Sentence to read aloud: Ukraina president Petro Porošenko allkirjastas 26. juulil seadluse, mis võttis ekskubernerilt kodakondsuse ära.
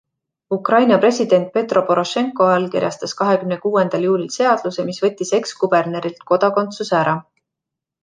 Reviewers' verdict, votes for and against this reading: rejected, 0, 2